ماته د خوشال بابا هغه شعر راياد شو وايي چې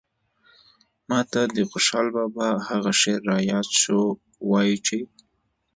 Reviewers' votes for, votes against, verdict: 2, 0, accepted